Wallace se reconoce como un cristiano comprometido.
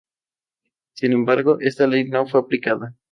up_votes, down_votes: 2, 0